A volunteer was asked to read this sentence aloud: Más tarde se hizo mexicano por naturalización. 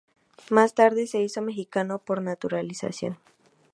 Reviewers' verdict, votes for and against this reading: accepted, 4, 0